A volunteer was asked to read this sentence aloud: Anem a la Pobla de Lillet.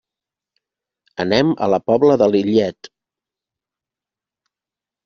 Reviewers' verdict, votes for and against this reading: accepted, 3, 0